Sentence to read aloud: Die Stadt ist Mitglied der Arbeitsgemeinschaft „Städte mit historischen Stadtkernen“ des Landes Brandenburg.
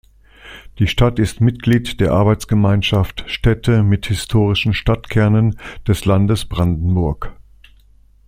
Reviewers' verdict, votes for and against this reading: accepted, 2, 0